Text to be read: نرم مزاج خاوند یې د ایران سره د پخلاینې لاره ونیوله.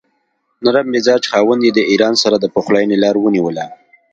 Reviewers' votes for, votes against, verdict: 2, 0, accepted